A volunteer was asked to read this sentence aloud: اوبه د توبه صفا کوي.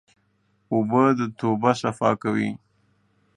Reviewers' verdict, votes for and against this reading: accepted, 2, 0